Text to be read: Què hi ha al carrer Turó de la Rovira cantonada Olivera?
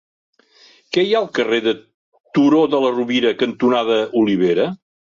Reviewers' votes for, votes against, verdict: 0, 2, rejected